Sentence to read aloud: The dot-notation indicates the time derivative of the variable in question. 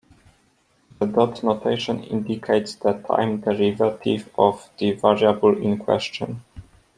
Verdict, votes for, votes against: accepted, 2, 0